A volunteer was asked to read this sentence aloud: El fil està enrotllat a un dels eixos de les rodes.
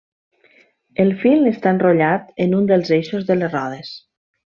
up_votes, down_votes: 1, 2